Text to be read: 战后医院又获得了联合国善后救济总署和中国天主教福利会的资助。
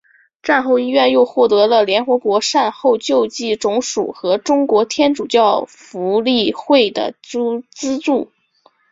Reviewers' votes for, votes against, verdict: 2, 0, accepted